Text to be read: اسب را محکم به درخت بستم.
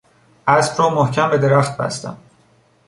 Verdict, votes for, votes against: accepted, 2, 0